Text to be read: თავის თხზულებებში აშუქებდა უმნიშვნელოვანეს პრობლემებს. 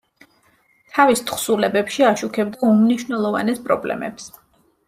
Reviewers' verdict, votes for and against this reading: accepted, 2, 0